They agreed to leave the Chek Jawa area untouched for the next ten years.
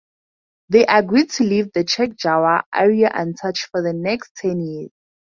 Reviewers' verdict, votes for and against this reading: accepted, 6, 4